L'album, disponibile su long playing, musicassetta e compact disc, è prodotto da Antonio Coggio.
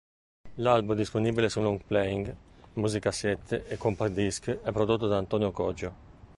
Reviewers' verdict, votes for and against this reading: rejected, 0, 2